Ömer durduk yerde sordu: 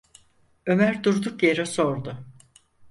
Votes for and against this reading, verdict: 0, 4, rejected